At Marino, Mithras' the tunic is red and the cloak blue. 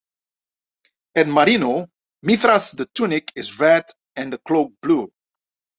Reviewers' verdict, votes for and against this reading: accepted, 2, 0